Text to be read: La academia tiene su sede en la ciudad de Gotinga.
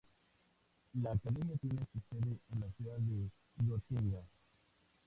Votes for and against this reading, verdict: 2, 0, accepted